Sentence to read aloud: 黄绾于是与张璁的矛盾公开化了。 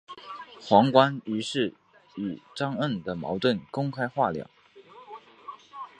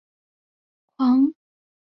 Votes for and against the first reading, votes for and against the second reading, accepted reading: 4, 1, 0, 3, first